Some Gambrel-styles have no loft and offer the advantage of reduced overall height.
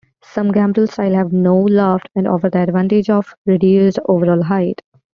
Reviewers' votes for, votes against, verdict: 2, 0, accepted